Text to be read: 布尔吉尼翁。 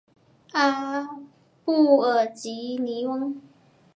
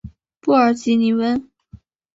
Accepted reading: second